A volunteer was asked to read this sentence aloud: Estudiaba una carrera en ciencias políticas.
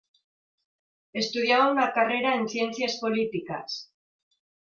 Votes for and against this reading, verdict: 2, 1, accepted